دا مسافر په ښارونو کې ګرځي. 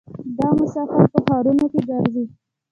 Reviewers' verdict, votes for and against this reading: rejected, 0, 2